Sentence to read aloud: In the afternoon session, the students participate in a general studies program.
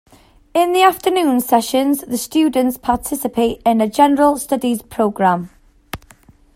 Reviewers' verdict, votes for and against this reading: accepted, 2, 0